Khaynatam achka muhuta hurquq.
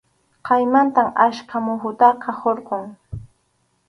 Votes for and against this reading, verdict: 0, 2, rejected